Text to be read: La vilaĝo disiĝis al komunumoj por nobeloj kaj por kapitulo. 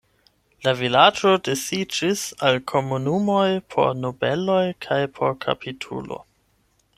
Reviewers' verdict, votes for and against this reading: accepted, 8, 0